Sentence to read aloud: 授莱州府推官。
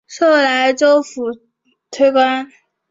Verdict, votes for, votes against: accepted, 2, 0